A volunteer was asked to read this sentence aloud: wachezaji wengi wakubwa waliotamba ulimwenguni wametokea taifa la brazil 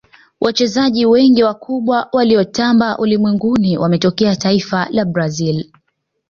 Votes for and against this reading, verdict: 2, 0, accepted